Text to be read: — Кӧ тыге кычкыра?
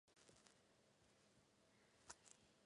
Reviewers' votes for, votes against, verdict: 1, 2, rejected